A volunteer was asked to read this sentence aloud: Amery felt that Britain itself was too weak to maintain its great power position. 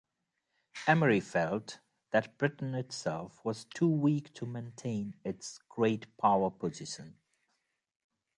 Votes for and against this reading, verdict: 2, 0, accepted